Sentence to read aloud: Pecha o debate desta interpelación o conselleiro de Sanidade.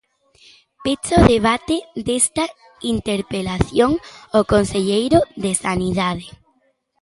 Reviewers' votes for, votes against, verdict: 2, 0, accepted